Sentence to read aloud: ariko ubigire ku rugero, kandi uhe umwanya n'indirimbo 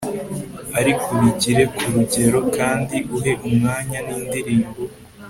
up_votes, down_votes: 2, 0